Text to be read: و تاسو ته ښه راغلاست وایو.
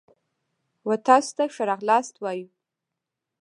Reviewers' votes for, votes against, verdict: 1, 2, rejected